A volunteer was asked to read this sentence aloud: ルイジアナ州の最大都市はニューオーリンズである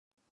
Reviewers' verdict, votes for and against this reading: rejected, 0, 3